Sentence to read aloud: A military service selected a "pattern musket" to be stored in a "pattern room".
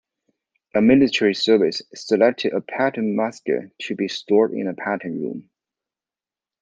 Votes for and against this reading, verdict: 2, 0, accepted